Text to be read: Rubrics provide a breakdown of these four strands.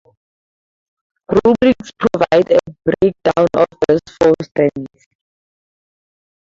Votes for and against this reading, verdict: 0, 2, rejected